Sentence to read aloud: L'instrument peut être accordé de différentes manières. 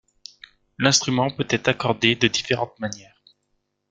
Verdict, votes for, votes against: accepted, 2, 1